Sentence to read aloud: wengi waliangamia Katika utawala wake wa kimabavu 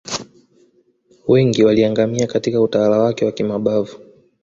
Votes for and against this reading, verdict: 2, 0, accepted